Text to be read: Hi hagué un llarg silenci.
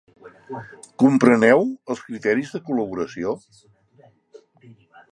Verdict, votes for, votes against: rejected, 0, 3